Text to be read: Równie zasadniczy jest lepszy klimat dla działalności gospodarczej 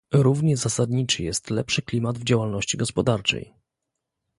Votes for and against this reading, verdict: 1, 2, rejected